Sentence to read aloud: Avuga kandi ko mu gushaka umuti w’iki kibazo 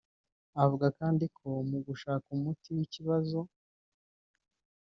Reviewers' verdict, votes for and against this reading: rejected, 1, 2